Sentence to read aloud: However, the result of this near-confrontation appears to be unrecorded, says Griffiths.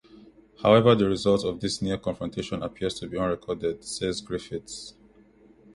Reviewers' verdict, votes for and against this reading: accepted, 2, 1